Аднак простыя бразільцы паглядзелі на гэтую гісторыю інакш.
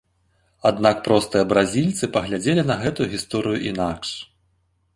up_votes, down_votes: 2, 0